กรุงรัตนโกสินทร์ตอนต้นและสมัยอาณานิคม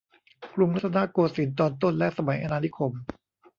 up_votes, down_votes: 1, 2